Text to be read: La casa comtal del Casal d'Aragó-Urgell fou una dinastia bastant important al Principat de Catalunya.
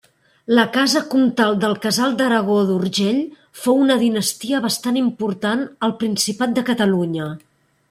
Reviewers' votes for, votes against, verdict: 2, 0, accepted